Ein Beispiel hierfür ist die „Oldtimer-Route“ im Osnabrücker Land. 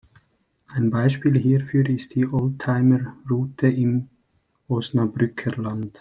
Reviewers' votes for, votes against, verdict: 2, 0, accepted